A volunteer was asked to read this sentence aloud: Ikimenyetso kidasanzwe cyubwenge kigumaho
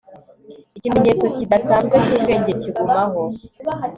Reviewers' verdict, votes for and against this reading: accepted, 3, 0